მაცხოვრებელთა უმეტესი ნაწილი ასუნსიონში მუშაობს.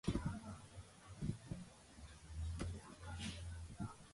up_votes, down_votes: 0, 2